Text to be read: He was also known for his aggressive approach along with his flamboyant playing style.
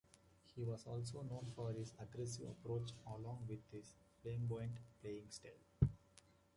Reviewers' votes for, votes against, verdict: 2, 1, accepted